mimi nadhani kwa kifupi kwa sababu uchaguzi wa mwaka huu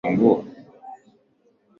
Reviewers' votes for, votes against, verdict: 0, 2, rejected